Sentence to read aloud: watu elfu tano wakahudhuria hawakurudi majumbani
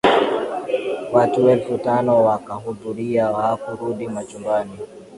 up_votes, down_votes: 2, 1